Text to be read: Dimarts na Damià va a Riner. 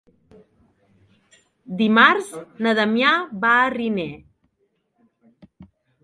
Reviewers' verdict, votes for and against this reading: accepted, 3, 0